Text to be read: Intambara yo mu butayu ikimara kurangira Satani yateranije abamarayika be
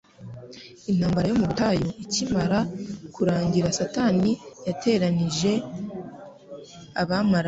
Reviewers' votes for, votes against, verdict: 2, 3, rejected